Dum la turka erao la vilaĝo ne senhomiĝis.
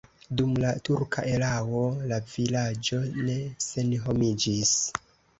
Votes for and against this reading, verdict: 2, 0, accepted